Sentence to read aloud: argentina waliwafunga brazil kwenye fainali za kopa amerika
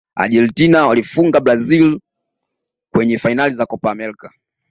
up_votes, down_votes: 2, 1